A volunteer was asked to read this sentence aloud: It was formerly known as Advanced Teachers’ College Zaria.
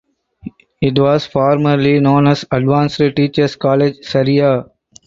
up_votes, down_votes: 2, 4